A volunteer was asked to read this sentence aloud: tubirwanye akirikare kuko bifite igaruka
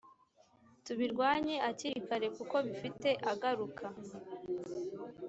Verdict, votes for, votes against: rejected, 0, 2